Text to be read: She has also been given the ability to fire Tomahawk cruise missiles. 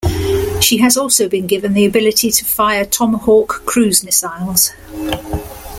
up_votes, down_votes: 2, 1